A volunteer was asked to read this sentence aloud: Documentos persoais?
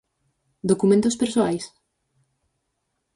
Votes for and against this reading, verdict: 6, 0, accepted